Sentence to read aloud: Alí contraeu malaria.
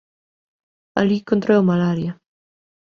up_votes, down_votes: 2, 1